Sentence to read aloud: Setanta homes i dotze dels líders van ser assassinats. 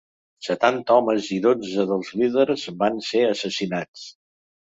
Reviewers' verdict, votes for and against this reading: accepted, 3, 0